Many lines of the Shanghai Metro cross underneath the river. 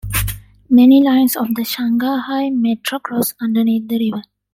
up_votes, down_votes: 1, 2